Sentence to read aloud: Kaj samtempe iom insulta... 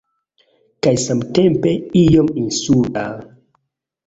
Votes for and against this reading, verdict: 1, 2, rejected